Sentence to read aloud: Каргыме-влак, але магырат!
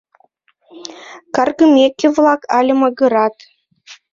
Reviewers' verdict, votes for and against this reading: rejected, 1, 2